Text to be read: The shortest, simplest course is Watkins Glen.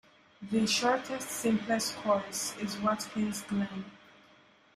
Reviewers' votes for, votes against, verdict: 2, 0, accepted